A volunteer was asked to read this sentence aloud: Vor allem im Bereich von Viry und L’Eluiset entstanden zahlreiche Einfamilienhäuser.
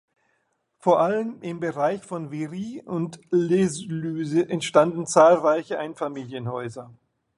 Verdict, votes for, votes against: accepted, 2, 1